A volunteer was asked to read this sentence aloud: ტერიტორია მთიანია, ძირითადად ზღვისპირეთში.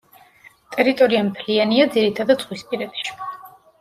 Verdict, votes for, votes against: accepted, 2, 1